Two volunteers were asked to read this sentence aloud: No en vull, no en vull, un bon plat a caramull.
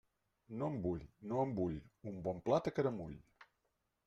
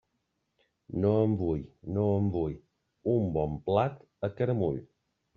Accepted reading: second